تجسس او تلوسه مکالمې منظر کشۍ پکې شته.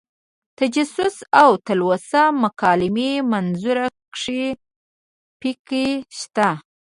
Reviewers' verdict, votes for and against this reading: rejected, 1, 2